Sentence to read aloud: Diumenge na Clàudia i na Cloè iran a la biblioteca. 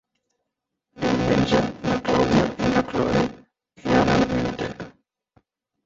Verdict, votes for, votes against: rejected, 0, 2